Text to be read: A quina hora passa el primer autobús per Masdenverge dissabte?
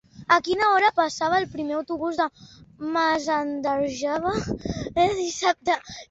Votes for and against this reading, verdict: 0, 2, rejected